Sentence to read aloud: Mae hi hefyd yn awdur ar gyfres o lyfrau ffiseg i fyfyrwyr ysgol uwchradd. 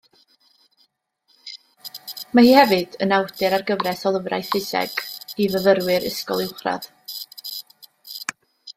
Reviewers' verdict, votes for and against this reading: rejected, 1, 2